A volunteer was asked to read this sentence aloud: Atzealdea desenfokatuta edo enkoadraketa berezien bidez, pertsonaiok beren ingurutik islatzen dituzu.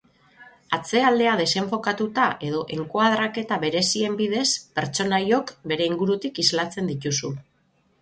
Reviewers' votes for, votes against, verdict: 6, 3, accepted